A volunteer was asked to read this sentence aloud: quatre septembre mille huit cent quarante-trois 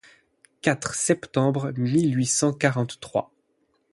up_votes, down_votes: 8, 0